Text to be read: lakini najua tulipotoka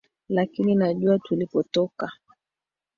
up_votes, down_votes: 3, 2